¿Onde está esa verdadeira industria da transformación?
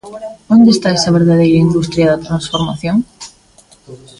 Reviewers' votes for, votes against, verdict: 2, 1, accepted